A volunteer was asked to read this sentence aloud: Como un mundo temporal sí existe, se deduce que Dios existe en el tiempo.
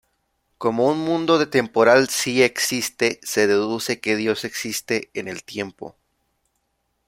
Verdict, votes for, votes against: rejected, 1, 2